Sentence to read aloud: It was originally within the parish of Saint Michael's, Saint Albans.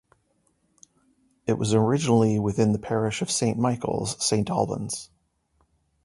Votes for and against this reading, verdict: 2, 0, accepted